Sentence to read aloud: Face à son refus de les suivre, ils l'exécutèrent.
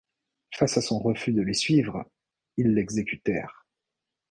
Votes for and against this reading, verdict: 2, 0, accepted